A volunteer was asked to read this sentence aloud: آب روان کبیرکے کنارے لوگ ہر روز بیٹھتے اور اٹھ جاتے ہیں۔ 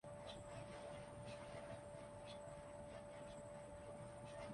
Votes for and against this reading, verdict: 0, 2, rejected